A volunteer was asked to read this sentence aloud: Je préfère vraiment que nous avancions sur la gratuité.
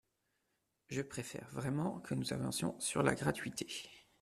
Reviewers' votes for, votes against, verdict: 2, 0, accepted